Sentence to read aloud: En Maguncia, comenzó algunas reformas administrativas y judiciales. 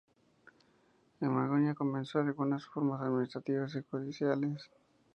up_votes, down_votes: 2, 0